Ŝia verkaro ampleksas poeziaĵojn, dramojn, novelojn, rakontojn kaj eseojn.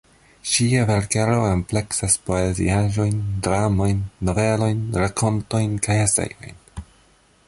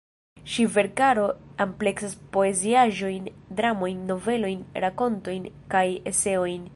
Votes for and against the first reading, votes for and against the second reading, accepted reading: 2, 0, 1, 2, first